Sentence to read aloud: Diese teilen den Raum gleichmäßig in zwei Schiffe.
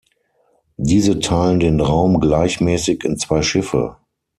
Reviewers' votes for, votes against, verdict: 6, 0, accepted